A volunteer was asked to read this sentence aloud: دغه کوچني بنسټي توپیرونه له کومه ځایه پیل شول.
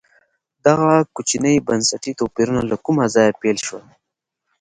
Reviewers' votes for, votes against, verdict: 2, 0, accepted